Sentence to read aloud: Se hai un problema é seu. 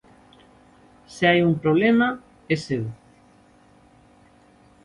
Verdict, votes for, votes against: accepted, 2, 0